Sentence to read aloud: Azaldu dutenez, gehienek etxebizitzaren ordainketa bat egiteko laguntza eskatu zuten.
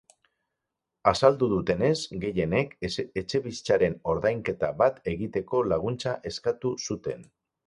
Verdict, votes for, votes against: rejected, 0, 4